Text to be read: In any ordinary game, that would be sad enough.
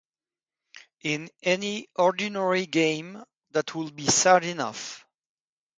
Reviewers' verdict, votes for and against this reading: accepted, 2, 0